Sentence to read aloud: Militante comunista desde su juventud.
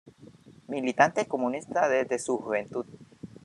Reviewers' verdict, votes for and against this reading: rejected, 0, 2